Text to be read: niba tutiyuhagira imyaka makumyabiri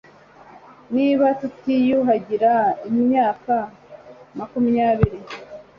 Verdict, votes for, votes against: accepted, 3, 0